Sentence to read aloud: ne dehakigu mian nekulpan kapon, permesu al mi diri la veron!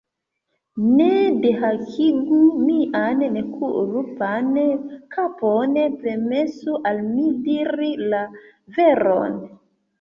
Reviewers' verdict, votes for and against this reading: rejected, 0, 2